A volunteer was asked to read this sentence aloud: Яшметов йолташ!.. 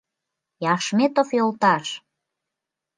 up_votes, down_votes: 2, 1